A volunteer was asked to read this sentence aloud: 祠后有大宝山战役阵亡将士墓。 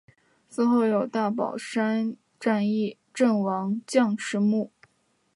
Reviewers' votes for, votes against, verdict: 2, 0, accepted